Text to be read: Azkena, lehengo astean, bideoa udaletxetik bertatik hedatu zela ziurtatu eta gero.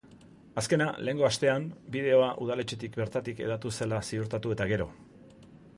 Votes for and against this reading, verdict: 2, 0, accepted